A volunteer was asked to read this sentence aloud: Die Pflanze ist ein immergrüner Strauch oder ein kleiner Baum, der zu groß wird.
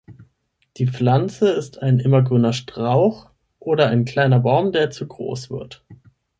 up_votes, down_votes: 6, 0